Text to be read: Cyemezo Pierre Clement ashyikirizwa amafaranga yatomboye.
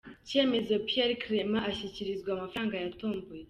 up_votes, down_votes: 2, 0